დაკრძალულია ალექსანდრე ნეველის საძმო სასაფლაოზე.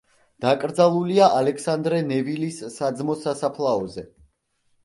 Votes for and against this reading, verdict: 0, 2, rejected